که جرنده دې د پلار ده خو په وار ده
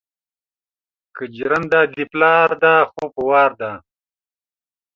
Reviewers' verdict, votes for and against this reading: accepted, 2, 0